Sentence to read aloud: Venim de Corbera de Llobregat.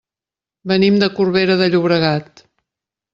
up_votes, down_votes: 2, 0